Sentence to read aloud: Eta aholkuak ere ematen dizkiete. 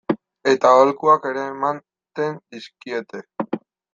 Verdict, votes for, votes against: rejected, 2, 3